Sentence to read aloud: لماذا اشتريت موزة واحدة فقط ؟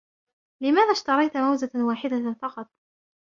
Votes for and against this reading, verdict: 2, 0, accepted